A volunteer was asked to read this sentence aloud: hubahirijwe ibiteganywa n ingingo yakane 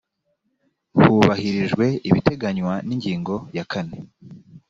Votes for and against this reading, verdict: 2, 0, accepted